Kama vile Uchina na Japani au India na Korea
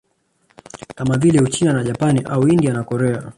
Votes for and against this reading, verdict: 1, 2, rejected